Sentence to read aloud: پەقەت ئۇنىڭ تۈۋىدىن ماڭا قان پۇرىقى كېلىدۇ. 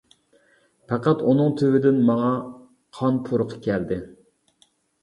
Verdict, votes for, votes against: rejected, 0, 2